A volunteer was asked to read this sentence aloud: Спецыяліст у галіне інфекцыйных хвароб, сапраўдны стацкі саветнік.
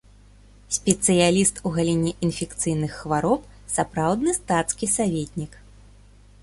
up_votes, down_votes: 2, 0